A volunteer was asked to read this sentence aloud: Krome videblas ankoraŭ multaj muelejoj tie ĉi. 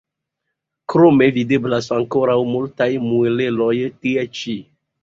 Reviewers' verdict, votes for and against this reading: accepted, 2, 1